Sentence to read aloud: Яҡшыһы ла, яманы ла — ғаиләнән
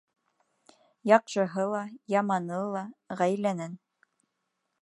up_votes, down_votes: 2, 0